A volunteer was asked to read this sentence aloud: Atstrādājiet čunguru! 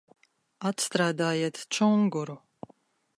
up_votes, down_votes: 2, 0